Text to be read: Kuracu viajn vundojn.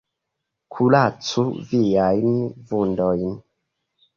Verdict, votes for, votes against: accepted, 2, 1